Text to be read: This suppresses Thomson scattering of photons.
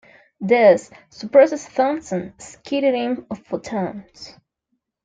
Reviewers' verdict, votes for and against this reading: accepted, 2, 1